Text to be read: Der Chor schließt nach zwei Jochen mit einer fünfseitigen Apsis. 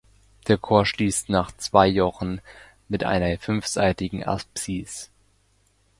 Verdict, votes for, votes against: accepted, 2, 0